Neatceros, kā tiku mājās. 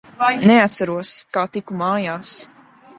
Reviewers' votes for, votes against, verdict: 0, 2, rejected